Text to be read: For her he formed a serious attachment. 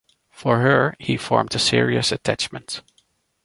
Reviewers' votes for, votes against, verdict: 2, 0, accepted